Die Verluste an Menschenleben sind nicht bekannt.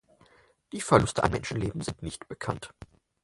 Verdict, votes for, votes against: accepted, 4, 2